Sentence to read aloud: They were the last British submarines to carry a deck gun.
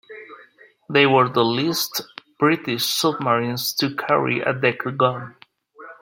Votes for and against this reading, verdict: 1, 3, rejected